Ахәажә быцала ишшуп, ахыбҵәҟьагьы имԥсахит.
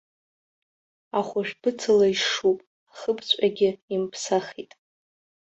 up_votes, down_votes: 2, 1